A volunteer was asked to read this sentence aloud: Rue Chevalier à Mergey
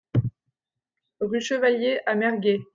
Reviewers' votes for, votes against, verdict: 1, 2, rejected